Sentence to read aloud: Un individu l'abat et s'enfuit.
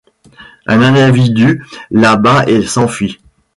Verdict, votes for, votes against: rejected, 1, 2